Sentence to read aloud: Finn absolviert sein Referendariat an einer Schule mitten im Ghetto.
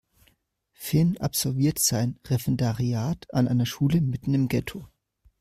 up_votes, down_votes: 1, 2